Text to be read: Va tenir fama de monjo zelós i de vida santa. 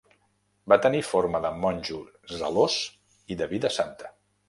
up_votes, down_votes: 0, 2